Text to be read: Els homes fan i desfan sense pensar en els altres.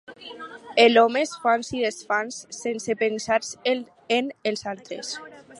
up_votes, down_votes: 0, 2